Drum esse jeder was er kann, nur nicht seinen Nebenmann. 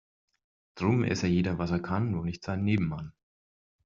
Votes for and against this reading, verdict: 4, 0, accepted